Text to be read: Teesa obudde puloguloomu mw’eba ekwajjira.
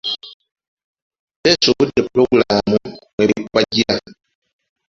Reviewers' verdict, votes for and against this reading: rejected, 1, 2